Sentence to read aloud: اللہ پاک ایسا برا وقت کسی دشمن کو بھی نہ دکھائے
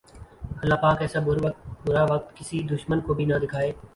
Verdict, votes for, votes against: rejected, 1, 2